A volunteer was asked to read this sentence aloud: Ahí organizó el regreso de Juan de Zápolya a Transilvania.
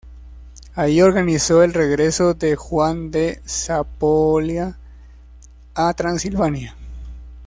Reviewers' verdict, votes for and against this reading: rejected, 0, 2